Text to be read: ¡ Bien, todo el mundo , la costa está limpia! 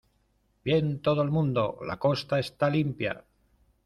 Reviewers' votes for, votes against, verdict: 1, 2, rejected